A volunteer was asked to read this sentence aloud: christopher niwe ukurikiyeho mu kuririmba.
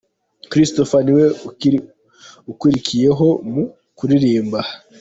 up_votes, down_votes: 0, 2